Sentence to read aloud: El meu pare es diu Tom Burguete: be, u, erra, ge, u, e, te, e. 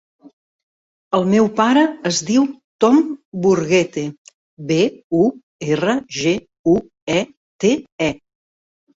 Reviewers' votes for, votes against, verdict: 4, 0, accepted